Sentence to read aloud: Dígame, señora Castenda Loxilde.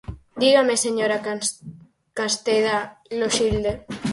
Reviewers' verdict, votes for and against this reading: rejected, 0, 4